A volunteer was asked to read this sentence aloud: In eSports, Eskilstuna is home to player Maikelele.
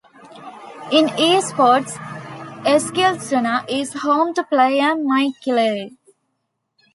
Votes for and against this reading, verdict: 1, 2, rejected